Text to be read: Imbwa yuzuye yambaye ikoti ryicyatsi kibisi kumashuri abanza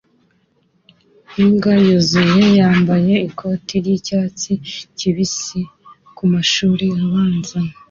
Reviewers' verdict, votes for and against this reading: accepted, 2, 0